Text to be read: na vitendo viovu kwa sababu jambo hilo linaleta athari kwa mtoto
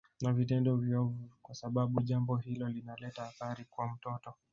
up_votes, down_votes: 1, 2